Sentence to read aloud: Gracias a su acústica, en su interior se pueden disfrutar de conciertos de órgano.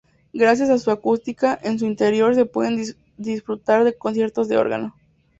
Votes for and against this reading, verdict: 0, 2, rejected